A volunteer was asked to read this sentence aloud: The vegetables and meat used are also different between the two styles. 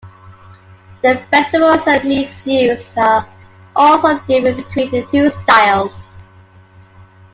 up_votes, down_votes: 0, 2